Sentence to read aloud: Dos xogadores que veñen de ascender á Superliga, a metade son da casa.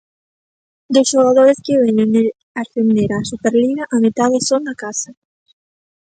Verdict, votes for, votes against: accepted, 2, 1